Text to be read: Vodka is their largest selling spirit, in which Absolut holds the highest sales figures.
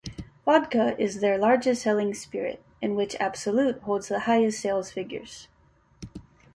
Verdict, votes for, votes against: accepted, 2, 0